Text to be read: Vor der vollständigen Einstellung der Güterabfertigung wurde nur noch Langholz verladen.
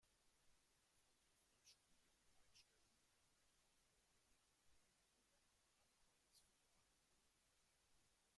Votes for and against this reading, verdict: 0, 2, rejected